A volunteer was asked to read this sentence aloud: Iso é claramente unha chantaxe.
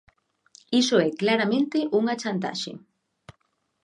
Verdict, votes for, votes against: accepted, 2, 0